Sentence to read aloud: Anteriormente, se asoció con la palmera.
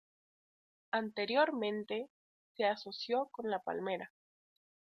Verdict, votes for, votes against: accepted, 2, 0